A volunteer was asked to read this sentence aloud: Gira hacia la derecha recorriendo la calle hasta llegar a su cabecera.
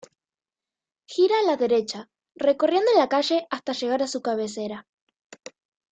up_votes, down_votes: 1, 2